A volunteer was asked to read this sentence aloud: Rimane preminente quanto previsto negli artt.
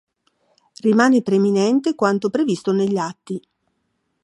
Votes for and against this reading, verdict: 1, 2, rejected